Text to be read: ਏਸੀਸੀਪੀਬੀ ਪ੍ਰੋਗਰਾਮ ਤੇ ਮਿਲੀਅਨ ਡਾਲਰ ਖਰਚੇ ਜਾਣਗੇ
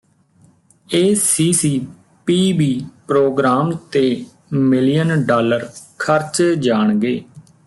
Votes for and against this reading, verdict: 2, 0, accepted